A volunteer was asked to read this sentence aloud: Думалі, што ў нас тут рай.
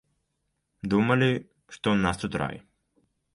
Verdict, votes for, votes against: accepted, 2, 0